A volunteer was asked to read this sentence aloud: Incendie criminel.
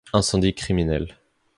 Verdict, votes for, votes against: accepted, 2, 0